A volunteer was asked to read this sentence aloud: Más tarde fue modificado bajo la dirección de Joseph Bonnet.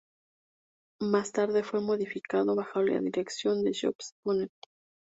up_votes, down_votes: 2, 0